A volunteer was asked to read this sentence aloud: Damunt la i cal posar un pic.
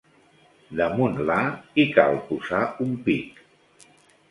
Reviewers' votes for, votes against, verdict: 0, 2, rejected